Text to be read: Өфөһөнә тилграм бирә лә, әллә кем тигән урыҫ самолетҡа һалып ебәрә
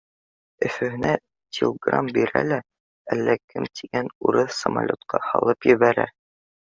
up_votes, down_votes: 2, 0